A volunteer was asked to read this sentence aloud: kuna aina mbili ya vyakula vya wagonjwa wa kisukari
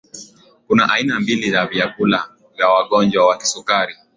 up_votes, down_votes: 2, 0